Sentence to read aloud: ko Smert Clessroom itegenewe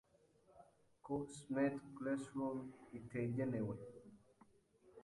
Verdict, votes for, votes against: rejected, 1, 2